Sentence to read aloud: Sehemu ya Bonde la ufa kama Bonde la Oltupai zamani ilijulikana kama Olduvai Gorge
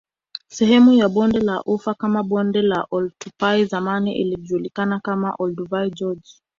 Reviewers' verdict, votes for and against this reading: accepted, 2, 0